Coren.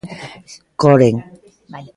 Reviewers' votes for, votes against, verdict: 2, 0, accepted